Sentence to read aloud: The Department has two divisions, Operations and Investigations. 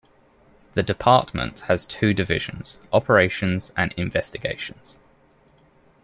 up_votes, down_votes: 2, 0